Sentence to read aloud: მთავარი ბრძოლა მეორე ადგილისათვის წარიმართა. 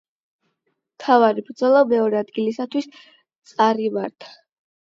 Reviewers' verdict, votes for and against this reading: accepted, 8, 0